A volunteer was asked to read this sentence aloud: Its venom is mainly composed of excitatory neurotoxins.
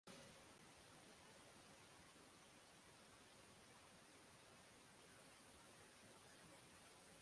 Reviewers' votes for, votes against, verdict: 0, 6, rejected